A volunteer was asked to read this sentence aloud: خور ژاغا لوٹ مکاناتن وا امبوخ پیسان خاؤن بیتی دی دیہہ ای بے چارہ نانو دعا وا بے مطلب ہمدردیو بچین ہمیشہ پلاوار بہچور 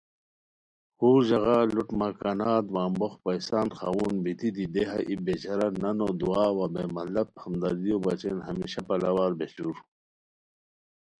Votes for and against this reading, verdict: 2, 0, accepted